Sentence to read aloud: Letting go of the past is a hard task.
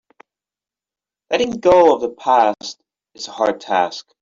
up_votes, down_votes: 4, 1